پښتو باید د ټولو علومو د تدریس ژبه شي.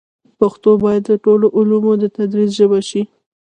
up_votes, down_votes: 1, 2